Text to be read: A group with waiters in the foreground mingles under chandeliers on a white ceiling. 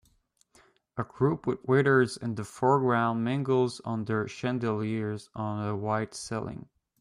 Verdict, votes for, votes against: accepted, 2, 0